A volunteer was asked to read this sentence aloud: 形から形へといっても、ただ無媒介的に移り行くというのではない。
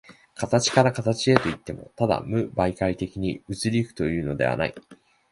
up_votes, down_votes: 4, 0